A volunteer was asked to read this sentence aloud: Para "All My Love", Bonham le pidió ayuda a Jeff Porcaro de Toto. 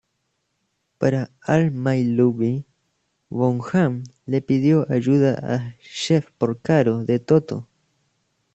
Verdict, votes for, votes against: rejected, 1, 2